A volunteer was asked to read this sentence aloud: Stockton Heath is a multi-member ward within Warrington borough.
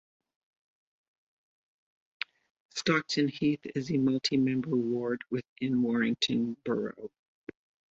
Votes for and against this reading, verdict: 2, 0, accepted